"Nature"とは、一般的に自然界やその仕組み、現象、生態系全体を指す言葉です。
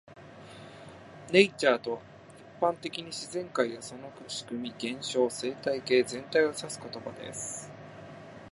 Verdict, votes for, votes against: rejected, 1, 2